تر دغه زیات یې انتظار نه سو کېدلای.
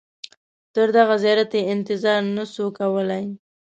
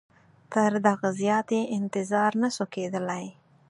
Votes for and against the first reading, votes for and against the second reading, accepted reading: 1, 2, 4, 0, second